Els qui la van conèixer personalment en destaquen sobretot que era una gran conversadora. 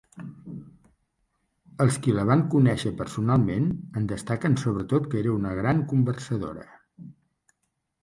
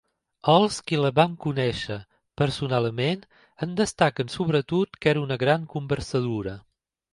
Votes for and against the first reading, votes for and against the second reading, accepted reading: 3, 0, 1, 2, first